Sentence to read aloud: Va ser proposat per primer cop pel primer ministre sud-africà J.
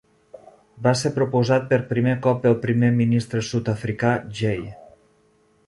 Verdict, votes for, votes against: rejected, 0, 2